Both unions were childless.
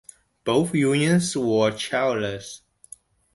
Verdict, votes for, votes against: accepted, 2, 0